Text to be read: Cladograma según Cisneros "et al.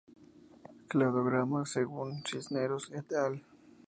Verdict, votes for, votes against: accepted, 2, 0